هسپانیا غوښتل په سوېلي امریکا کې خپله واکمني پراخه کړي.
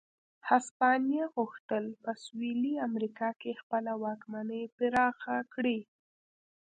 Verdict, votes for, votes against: accepted, 2, 0